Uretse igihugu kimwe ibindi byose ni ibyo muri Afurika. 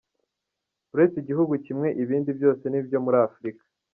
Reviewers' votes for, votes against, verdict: 2, 0, accepted